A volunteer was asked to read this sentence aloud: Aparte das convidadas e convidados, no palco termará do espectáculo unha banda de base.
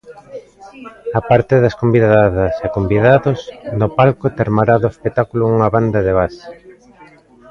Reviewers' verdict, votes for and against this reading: rejected, 1, 2